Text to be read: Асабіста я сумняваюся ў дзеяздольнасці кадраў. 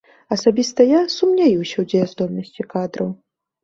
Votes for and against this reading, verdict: 0, 2, rejected